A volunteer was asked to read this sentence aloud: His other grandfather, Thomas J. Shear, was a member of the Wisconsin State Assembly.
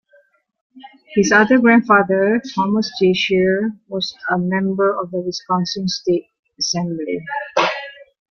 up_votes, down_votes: 2, 0